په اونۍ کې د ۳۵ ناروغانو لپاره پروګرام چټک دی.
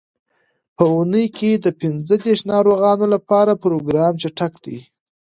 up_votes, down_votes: 0, 2